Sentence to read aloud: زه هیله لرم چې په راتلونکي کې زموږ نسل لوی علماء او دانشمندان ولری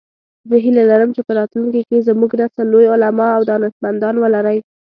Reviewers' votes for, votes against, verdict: 2, 0, accepted